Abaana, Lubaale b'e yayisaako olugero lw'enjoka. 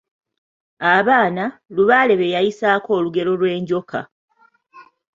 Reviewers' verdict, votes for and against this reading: accepted, 2, 0